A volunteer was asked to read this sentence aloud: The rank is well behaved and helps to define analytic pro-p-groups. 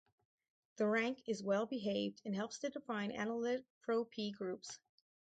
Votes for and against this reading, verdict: 2, 4, rejected